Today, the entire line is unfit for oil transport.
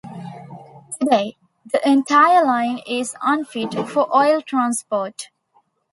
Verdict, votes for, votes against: accepted, 2, 0